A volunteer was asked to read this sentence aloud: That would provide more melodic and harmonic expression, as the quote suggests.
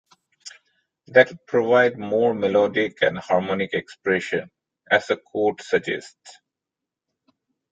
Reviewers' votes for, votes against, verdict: 2, 0, accepted